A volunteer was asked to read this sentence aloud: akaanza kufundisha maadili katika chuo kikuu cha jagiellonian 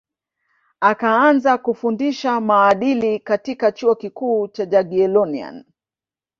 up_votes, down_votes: 2, 0